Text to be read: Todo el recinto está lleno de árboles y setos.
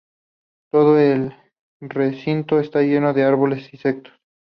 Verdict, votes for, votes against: rejected, 0, 2